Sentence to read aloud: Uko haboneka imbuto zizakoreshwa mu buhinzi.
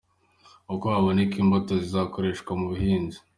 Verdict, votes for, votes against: accepted, 2, 0